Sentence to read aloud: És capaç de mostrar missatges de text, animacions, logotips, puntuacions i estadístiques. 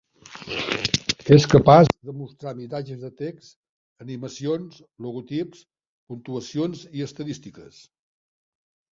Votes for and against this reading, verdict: 1, 2, rejected